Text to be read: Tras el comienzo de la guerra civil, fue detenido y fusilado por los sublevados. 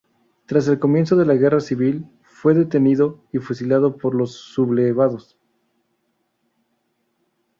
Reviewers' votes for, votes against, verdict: 2, 0, accepted